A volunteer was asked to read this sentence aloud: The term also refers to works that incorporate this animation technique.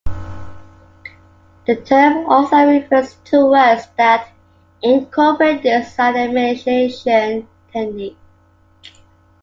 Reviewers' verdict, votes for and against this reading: rejected, 0, 2